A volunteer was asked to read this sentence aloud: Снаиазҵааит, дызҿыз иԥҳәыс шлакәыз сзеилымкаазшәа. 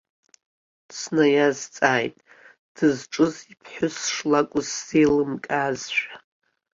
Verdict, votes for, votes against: rejected, 1, 2